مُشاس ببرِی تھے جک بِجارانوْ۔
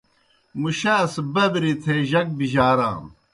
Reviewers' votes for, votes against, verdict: 2, 0, accepted